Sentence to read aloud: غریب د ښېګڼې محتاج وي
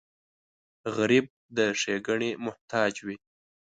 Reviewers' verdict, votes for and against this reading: rejected, 1, 2